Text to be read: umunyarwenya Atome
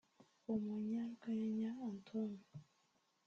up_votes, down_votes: 1, 2